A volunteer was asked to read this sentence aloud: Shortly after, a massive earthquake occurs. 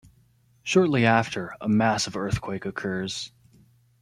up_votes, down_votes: 2, 0